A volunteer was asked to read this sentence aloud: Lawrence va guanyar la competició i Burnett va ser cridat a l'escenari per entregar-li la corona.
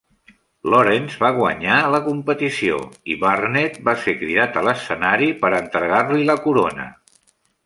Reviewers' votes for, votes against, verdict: 2, 0, accepted